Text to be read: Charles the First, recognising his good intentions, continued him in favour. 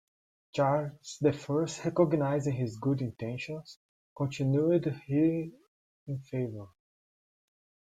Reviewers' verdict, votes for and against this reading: accepted, 2, 1